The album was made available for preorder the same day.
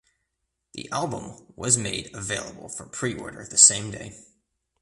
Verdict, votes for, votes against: accepted, 2, 0